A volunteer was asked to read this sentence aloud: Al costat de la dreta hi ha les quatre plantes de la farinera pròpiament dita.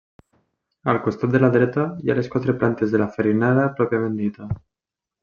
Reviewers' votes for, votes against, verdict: 2, 0, accepted